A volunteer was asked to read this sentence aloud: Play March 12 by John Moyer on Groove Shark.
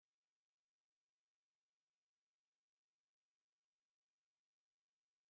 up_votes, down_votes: 0, 2